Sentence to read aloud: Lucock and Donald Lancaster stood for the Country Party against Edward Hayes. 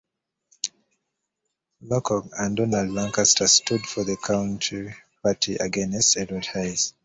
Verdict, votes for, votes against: rejected, 1, 2